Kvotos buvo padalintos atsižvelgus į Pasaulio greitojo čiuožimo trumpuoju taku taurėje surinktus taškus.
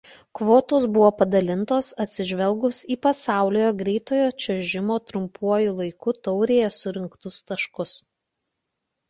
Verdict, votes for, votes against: rejected, 0, 2